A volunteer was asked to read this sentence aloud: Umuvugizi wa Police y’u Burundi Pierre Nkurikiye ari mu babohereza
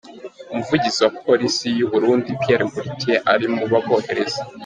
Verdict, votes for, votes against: accepted, 3, 0